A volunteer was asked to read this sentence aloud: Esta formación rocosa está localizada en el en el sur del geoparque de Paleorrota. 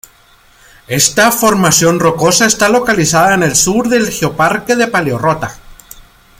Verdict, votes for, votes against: rejected, 1, 2